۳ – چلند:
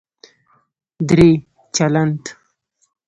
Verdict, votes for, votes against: rejected, 0, 2